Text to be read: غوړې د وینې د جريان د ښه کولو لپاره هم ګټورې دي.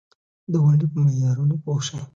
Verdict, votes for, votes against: rejected, 0, 2